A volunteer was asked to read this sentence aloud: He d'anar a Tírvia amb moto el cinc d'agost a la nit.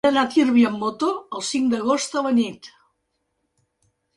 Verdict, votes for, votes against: rejected, 0, 2